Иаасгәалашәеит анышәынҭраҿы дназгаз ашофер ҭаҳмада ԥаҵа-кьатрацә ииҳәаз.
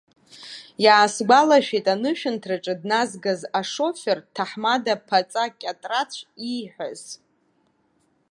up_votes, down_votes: 0, 2